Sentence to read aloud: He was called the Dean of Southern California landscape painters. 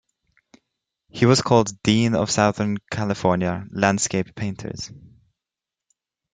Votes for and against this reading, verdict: 3, 0, accepted